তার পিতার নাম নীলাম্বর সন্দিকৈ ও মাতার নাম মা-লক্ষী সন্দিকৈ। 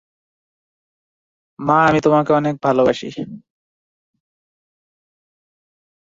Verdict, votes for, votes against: rejected, 0, 2